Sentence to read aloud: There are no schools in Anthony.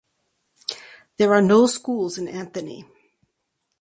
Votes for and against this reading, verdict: 4, 0, accepted